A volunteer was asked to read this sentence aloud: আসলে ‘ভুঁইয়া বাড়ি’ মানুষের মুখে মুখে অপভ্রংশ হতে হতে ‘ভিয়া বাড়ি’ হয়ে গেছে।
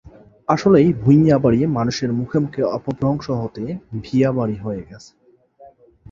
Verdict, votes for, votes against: accepted, 2, 0